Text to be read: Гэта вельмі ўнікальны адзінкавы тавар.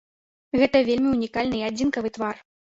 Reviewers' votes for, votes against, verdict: 1, 2, rejected